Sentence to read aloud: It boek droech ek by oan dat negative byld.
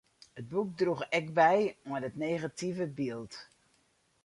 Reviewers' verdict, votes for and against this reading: rejected, 2, 2